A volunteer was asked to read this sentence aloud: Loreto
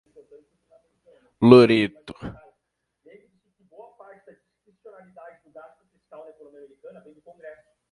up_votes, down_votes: 1, 3